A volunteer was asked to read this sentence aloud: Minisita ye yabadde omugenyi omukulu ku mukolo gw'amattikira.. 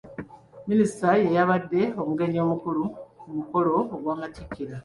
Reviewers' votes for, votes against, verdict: 0, 2, rejected